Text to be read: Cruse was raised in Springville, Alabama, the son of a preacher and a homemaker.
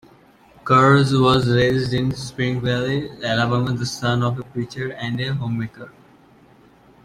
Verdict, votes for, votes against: rejected, 0, 2